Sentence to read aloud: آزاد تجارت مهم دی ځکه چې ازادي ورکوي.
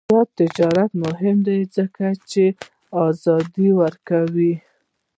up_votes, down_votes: 0, 2